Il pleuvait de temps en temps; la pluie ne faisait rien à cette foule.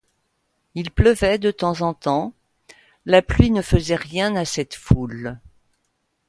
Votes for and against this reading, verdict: 2, 0, accepted